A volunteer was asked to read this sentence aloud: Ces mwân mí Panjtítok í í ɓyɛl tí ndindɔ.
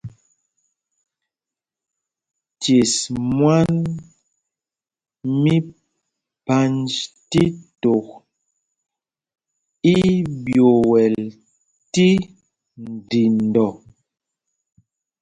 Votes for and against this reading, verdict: 2, 0, accepted